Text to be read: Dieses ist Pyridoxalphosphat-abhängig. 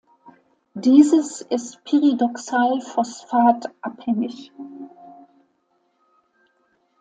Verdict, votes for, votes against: rejected, 0, 2